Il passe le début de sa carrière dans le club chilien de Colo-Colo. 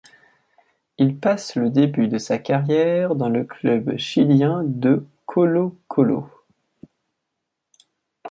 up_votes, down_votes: 2, 0